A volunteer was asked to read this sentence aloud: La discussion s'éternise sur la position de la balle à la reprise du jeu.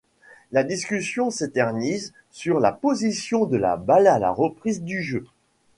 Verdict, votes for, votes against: accepted, 2, 0